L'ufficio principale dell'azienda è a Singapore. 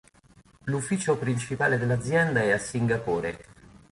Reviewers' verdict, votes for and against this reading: accepted, 3, 0